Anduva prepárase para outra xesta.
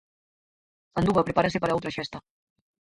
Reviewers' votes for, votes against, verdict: 2, 4, rejected